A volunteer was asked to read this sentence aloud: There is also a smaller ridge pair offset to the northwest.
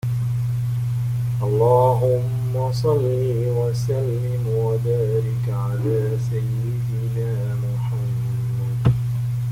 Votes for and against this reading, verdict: 0, 2, rejected